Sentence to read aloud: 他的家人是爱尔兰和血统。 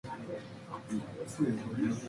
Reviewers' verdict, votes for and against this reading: rejected, 0, 2